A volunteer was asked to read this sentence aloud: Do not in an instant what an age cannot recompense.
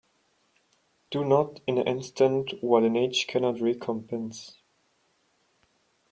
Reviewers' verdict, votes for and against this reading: accepted, 2, 1